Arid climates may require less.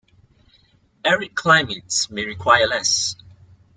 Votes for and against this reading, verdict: 2, 0, accepted